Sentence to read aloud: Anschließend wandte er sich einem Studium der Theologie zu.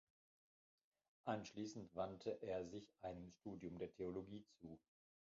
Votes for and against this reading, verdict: 1, 2, rejected